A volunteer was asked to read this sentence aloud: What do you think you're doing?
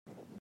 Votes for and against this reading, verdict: 1, 2, rejected